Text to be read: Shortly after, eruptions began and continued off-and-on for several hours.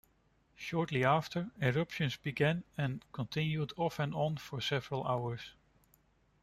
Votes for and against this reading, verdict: 2, 1, accepted